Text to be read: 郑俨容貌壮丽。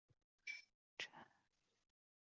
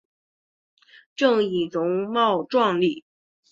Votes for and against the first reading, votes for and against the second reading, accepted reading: 1, 3, 2, 1, second